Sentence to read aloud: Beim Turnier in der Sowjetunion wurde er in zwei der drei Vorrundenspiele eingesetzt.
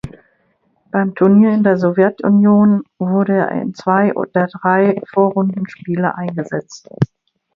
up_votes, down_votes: 0, 2